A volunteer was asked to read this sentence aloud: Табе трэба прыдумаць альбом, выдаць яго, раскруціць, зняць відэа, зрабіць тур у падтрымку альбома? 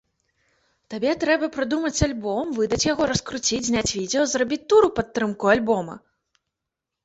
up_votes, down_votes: 0, 2